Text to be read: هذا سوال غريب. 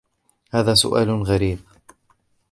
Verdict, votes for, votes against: rejected, 0, 2